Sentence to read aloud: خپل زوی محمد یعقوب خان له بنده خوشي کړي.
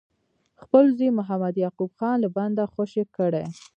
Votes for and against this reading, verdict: 2, 0, accepted